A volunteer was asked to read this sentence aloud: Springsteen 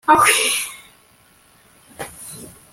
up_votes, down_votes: 0, 2